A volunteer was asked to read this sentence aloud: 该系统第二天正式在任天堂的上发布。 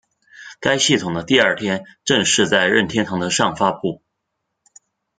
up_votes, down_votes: 1, 2